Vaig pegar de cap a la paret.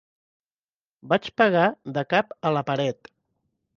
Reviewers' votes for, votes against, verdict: 2, 0, accepted